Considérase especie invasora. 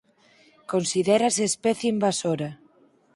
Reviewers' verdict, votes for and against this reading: accepted, 4, 0